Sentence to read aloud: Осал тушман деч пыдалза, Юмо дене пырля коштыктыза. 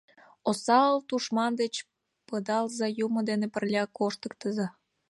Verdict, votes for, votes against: accepted, 2, 0